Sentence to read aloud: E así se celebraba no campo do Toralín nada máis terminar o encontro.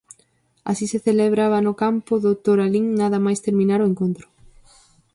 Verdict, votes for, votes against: rejected, 0, 4